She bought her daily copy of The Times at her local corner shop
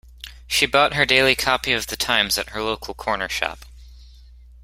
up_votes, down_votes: 2, 0